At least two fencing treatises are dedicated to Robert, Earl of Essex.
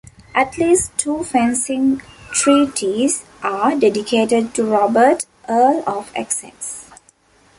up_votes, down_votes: 2, 1